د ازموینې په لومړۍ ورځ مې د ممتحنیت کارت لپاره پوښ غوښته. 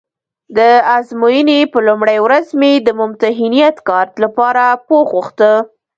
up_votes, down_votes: 2, 0